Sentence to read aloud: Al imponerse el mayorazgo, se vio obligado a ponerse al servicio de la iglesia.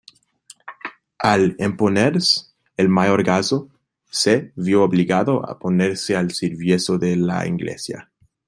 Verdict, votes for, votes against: rejected, 0, 2